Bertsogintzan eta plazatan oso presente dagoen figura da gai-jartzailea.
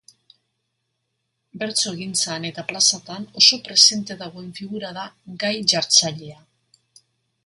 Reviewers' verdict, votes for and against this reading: accepted, 2, 0